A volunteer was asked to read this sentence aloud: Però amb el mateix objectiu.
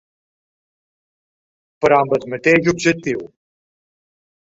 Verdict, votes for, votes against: accepted, 2, 1